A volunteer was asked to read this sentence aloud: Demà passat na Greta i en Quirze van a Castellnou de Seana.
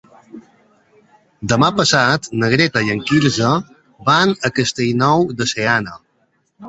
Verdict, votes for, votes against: accepted, 2, 0